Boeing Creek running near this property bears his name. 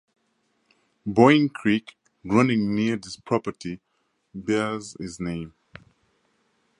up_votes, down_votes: 2, 0